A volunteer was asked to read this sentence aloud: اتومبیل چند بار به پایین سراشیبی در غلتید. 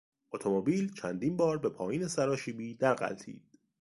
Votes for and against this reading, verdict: 0, 2, rejected